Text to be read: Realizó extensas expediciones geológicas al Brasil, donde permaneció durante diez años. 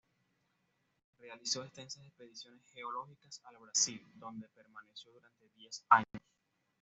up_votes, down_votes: 1, 2